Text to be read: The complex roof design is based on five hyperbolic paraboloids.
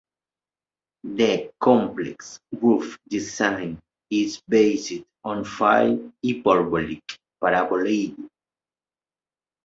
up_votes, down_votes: 0, 2